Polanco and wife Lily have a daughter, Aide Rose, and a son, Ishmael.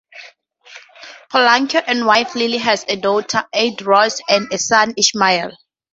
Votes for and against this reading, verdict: 4, 2, accepted